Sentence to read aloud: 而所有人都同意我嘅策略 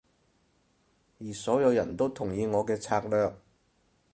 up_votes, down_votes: 2, 2